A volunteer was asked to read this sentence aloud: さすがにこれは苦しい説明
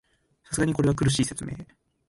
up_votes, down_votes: 2, 0